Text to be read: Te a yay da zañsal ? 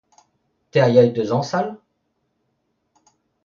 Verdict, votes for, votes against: accepted, 2, 0